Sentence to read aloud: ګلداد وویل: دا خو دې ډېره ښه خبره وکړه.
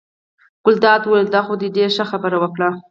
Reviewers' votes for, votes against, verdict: 0, 4, rejected